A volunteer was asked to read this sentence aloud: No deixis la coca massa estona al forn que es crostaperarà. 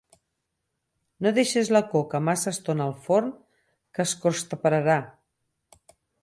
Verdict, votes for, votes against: rejected, 2, 4